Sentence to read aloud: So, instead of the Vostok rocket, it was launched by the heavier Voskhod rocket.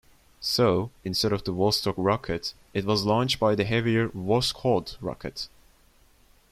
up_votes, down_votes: 2, 0